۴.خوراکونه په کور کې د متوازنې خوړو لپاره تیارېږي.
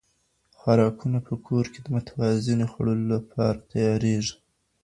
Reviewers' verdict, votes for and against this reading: rejected, 0, 2